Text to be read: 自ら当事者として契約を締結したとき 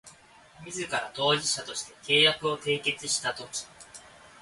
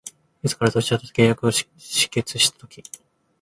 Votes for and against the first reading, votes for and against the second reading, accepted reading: 2, 0, 0, 2, first